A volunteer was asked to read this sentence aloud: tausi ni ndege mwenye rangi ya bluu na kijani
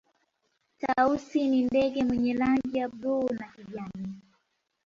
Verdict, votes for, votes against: rejected, 0, 2